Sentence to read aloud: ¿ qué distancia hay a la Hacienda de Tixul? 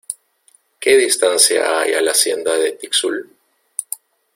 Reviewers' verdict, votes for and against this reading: accepted, 2, 1